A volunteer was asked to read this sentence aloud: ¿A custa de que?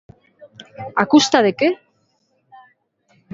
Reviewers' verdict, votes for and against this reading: accepted, 2, 0